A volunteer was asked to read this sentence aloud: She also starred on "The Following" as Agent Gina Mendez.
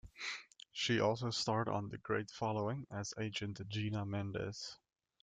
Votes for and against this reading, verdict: 0, 3, rejected